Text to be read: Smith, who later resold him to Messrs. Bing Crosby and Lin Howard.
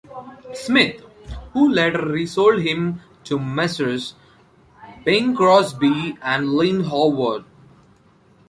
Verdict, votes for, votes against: accepted, 2, 0